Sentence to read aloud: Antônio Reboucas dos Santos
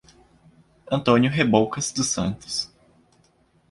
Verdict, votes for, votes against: accepted, 2, 1